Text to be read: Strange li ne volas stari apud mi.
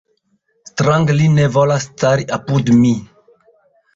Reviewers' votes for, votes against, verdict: 1, 2, rejected